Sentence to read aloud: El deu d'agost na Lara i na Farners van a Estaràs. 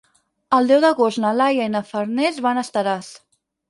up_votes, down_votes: 0, 4